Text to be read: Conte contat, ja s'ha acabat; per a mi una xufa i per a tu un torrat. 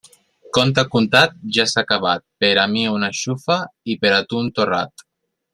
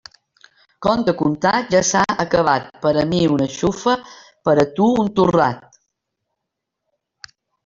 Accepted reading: first